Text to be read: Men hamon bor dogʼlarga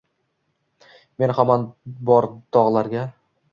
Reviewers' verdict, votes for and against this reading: rejected, 1, 2